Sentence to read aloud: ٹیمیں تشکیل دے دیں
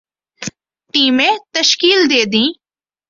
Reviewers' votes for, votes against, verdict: 2, 0, accepted